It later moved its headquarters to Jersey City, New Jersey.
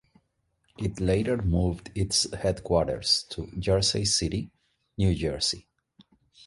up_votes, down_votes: 2, 0